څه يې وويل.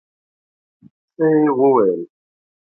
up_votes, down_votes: 2, 0